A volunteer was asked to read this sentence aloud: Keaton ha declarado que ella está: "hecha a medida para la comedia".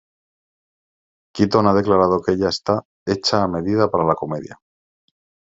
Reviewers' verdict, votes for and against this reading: accepted, 3, 0